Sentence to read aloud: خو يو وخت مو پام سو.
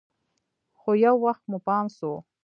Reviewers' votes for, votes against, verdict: 2, 0, accepted